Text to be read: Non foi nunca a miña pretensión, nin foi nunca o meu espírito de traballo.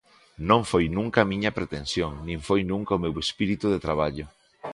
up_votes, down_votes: 3, 0